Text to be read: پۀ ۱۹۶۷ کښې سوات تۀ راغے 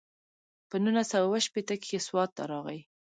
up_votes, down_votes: 0, 2